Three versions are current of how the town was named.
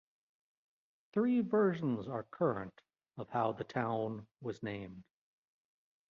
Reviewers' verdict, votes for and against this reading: rejected, 1, 2